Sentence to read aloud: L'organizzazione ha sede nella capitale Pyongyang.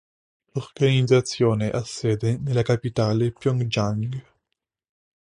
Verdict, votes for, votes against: rejected, 1, 2